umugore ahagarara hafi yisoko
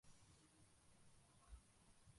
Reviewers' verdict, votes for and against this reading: rejected, 0, 2